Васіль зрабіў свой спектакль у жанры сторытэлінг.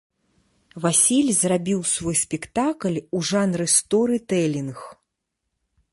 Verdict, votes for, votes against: accepted, 2, 0